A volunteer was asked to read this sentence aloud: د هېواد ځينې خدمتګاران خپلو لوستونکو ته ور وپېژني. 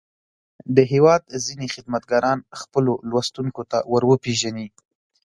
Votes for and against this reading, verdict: 2, 0, accepted